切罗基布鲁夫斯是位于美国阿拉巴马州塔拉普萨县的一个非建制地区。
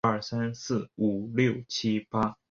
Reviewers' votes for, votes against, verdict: 0, 3, rejected